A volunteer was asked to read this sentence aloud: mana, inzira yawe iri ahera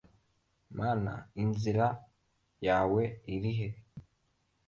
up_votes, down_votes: 2, 1